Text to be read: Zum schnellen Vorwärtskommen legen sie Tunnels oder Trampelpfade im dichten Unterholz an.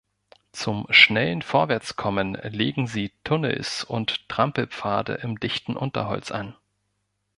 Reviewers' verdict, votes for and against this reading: rejected, 0, 2